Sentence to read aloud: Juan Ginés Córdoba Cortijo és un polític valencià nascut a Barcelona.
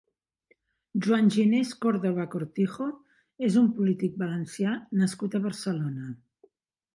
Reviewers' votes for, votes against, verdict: 3, 0, accepted